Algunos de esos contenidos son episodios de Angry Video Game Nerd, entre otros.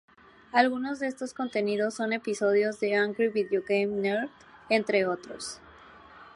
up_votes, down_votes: 0, 2